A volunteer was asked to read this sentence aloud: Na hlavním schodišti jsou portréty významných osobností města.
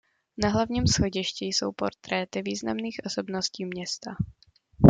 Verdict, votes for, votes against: accepted, 2, 0